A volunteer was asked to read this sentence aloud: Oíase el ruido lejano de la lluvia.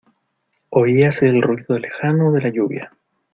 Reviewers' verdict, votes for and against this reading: accepted, 2, 0